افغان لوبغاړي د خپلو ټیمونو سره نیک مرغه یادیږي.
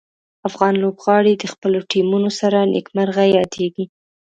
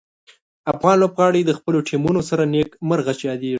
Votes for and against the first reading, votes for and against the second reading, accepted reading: 2, 0, 0, 2, first